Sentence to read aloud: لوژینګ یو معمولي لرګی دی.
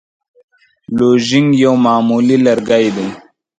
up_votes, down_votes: 2, 1